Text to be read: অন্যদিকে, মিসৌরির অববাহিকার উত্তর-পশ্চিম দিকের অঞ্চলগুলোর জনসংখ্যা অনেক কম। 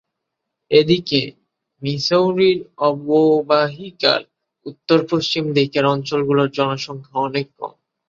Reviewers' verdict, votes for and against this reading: rejected, 0, 2